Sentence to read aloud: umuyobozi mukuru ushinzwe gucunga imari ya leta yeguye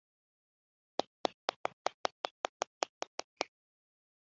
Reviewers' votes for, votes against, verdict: 0, 2, rejected